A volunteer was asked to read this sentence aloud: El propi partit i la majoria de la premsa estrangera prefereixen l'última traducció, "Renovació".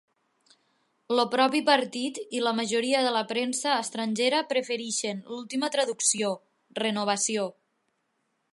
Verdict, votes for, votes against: rejected, 1, 2